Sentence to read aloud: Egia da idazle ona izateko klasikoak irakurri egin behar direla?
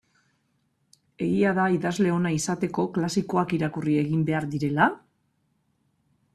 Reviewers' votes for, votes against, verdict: 2, 0, accepted